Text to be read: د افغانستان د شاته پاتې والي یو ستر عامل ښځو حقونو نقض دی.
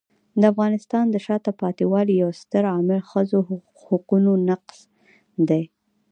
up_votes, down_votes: 2, 0